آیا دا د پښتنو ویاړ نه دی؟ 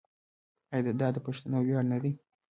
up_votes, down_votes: 2, 0